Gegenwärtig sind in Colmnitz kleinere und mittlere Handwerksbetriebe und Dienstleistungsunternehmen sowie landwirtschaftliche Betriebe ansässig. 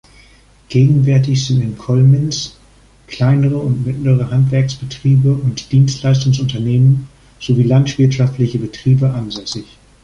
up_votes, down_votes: 0, 2